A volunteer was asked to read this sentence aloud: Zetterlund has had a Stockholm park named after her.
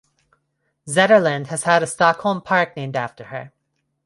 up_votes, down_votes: 2, 0